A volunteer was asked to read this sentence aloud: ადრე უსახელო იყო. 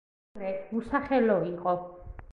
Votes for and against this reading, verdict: 1, 2, rejected